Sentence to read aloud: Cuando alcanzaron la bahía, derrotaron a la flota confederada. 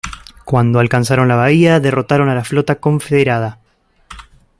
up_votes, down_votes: 2, 0